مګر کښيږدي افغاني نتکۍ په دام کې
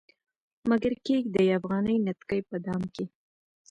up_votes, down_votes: 2, 0